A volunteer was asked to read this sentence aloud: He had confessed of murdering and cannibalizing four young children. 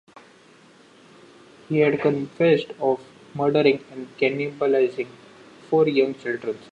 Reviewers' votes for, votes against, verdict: 1, 2, rejected